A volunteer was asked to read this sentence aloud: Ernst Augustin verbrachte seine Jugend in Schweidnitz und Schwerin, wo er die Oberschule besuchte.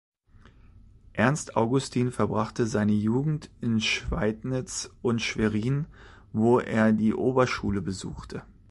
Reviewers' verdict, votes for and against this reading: accepted, 2, 0